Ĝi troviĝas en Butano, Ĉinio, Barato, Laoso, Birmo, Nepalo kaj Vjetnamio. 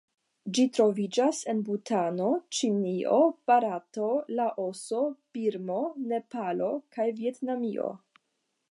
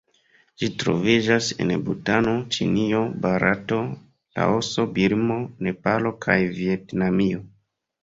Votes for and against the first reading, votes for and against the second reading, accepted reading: 5, 0, 1, 2, first